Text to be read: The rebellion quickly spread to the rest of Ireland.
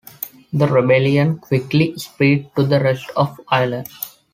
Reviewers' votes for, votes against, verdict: 2, 0, accepted